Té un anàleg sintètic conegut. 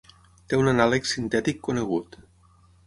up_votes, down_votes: 6, 0